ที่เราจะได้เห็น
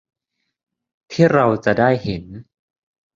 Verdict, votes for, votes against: accepted, 2, 0